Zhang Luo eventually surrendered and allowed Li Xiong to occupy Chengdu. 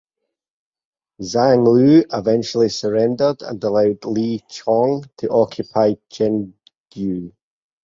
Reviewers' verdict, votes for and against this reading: accepted, 4, 0